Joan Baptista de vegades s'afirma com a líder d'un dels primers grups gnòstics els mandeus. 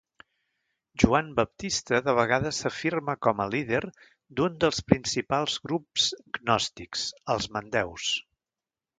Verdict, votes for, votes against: rejected, 0, 2